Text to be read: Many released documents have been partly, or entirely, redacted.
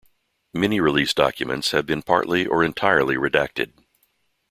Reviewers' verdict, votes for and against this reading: accepted, 2, 0